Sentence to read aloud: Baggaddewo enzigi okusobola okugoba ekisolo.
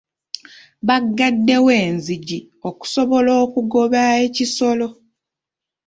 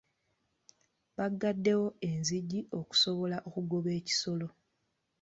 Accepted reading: second